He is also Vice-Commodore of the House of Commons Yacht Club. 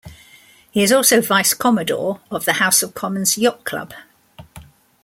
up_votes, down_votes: 2, 0